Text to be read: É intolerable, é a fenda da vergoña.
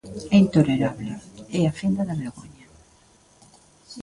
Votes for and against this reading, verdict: 2, 0, accepted